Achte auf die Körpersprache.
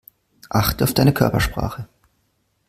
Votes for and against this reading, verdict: 0, 2, rejected